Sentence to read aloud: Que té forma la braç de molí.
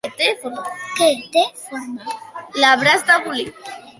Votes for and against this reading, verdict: 1, 2, rejected